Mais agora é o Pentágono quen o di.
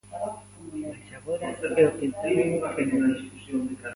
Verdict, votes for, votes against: rejected, 0, 2